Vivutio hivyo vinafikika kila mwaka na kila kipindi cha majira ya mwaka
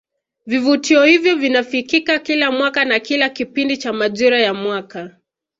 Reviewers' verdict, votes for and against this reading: accepted, 2, 1